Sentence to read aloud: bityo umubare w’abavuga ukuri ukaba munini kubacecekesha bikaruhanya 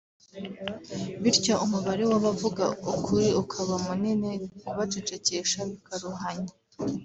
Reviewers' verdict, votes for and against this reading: accepted, 2, 0